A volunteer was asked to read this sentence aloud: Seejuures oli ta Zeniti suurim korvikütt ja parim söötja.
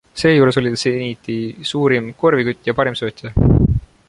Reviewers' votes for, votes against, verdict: 2, 1, accepted